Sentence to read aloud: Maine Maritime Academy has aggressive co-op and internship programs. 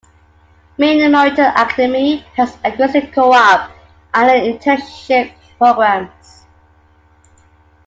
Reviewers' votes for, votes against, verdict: 0, 2, rejected